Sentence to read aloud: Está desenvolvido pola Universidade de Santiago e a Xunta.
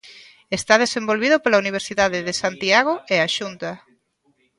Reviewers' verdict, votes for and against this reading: rejected, 0, 2